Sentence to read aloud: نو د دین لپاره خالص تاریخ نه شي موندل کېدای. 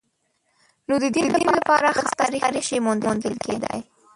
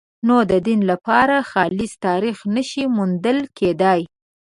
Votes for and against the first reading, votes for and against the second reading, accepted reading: 0, 2, 2, 0, second